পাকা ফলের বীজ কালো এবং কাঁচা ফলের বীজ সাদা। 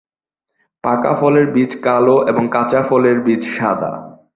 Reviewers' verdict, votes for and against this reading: accepted, 7, 1